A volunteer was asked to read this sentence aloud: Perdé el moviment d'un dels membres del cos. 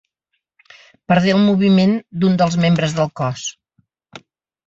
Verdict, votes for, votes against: accepted, 2, 0